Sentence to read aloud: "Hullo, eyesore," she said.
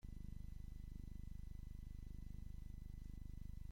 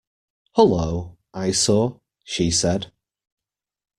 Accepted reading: second